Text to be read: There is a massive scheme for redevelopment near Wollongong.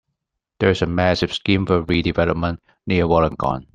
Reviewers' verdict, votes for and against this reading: rejected, 0, 2